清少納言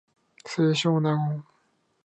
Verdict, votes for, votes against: accepted, 2, 0